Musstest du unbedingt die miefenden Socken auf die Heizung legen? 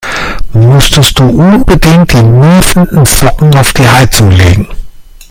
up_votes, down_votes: 1, 2